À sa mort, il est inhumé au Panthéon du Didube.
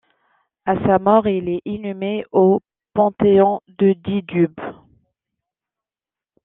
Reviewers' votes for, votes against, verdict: 1, 2, rejected